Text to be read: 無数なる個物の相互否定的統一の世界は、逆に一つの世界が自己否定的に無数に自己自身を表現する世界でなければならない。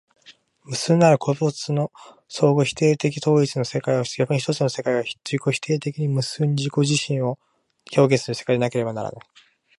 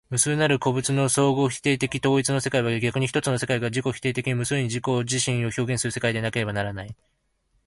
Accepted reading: second